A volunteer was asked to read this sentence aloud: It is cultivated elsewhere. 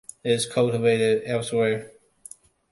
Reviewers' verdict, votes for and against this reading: accepted, 2, 0